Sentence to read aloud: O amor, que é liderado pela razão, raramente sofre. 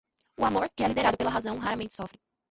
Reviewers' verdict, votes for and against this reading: rejected, 1, 2